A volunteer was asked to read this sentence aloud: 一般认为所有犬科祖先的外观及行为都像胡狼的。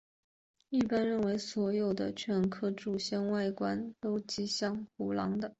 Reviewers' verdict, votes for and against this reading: accepted, 3, 0